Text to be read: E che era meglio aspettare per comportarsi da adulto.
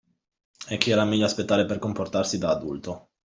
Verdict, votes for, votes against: accepted, 2, 0